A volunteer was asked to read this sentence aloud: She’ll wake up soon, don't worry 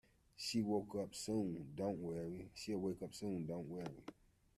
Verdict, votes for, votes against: rejected, 0, 2